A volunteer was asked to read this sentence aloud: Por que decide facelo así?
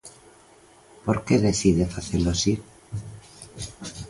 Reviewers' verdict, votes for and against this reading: accepted, 2, 0